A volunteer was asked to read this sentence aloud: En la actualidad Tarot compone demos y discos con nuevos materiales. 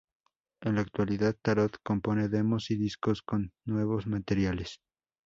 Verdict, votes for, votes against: rejected, 2, 2